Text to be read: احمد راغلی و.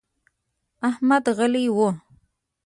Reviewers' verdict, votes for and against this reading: rejected, 1, 2